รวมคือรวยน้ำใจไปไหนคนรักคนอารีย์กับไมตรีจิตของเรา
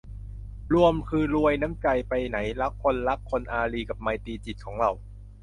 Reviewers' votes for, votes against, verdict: 0, 2, rejected